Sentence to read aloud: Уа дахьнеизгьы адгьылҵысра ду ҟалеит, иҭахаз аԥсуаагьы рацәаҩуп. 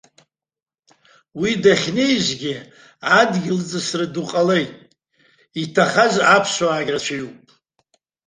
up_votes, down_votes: 2, 0